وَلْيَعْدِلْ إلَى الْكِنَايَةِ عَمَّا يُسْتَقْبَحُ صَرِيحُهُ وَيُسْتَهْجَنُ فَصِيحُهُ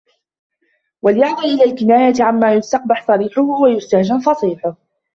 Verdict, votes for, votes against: rejected, 0, 2